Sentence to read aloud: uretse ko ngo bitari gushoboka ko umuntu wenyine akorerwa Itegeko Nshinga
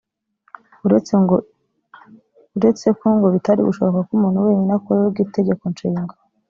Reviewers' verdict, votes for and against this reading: rejected, 3, 4